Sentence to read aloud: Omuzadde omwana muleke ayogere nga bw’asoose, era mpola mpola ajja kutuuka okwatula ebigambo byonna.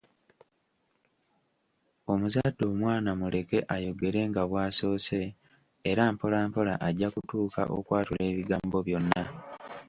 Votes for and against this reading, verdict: 3, 0, accepted